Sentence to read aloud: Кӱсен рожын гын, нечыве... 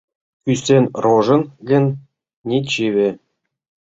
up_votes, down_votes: 0, 2